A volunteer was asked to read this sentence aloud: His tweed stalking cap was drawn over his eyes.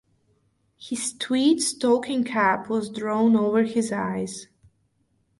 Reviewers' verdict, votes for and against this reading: rejected, 0, 2